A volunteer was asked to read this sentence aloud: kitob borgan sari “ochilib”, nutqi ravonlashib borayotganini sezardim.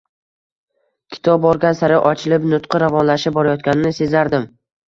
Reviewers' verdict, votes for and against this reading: rejected, 0, 2